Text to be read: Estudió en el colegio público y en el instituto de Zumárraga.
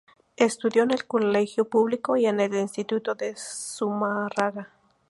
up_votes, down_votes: 2, 0